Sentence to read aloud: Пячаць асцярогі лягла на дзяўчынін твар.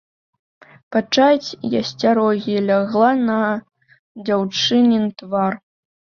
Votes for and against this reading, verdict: 0, 2, rejected